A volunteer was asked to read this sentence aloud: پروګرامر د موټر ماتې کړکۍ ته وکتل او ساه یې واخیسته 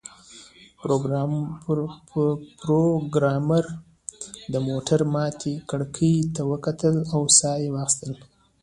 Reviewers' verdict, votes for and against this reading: accepted, 2, 0